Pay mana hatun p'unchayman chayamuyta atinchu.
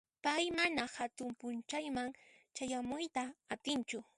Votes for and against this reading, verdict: 0, 2, rejected